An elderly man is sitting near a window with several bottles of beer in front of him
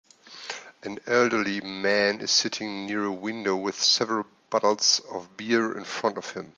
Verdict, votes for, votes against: accepted, 2, 0